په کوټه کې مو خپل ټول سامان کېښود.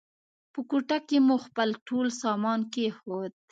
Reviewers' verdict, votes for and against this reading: accepted, 2, 0